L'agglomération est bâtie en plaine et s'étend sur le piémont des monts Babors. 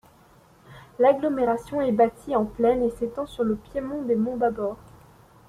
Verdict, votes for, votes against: accepted, 2, 0